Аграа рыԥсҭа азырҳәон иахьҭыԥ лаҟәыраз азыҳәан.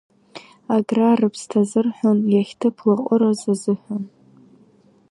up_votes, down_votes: 2, 0